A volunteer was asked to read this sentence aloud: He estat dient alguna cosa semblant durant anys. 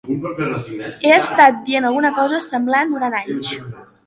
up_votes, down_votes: 2, 1